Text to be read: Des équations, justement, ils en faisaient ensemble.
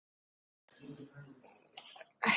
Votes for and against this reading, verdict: 0, 2, rejected